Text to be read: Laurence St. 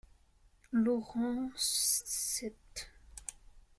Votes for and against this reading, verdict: 0, 2, rejected